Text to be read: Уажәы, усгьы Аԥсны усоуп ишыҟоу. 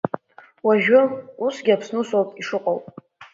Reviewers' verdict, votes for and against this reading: accepted, 2, 0